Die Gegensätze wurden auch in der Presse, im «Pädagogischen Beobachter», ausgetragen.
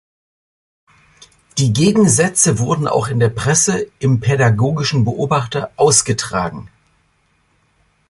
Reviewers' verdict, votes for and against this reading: accepted, 2, 0